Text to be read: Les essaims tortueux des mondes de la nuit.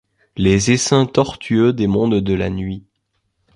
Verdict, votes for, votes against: accepted, 2, 0